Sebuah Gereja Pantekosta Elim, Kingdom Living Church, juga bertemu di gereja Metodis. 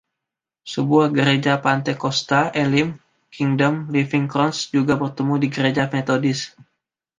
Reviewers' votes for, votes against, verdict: 1, 2, rejected